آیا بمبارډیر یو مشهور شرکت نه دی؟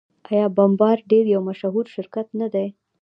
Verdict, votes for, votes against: accepted, 2, 0